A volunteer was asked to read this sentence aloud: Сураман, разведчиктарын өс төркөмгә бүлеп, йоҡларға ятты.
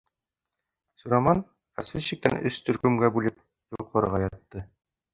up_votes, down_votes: 1, 2